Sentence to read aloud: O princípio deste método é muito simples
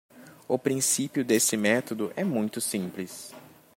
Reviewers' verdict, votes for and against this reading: rejected, 1, 2